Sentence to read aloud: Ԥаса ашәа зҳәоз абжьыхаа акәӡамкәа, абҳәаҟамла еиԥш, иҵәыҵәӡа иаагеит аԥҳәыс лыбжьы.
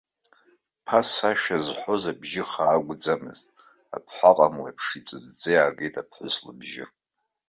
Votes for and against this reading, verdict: 0, 2, rejected